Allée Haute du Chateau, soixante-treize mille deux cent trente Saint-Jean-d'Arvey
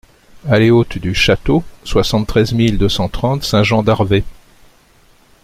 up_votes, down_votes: 2, 0